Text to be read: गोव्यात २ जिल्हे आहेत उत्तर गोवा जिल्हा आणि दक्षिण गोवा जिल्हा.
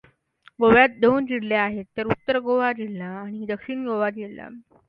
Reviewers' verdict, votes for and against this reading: rejected, 0, 2